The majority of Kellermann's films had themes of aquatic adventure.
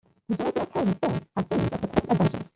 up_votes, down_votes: 0, 2